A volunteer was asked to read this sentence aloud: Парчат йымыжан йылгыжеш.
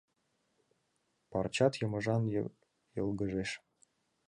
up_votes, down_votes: 1, 2